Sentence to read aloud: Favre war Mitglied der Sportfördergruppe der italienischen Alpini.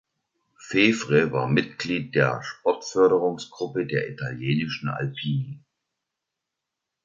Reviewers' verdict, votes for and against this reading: rejected, 0, 2